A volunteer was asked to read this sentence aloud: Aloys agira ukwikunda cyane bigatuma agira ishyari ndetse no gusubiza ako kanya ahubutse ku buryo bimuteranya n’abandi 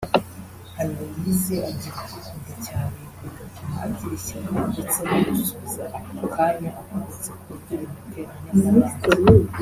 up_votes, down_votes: 0, 2